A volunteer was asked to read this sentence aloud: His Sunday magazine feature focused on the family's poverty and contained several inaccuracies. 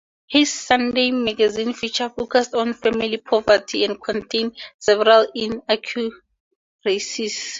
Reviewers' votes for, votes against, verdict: 0, 2, rejected